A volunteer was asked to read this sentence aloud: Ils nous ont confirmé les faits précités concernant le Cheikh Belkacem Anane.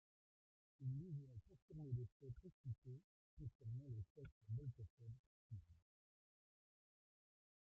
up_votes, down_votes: 0, 2